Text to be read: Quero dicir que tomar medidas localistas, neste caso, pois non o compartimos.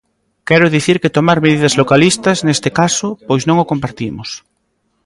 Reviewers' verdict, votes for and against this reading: accepted, 2, 1